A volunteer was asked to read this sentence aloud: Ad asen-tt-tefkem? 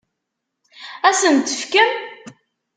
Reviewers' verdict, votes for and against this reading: accepted, 2, 0